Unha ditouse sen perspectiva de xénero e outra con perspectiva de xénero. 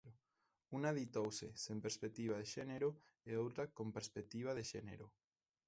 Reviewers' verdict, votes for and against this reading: accepted, 2, 1